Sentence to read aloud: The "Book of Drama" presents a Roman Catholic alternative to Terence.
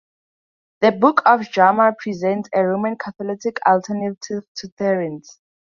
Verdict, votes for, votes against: rejected, 0, 2